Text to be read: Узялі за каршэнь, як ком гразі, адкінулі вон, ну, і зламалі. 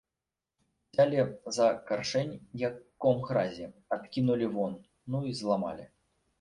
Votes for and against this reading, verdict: 1, 2, rejected